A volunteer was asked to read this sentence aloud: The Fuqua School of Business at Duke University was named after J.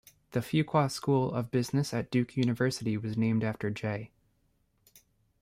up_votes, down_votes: 1, 2